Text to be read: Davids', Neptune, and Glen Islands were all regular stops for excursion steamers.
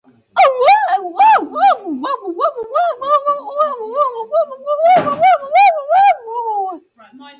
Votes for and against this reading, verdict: 0, 4, rejected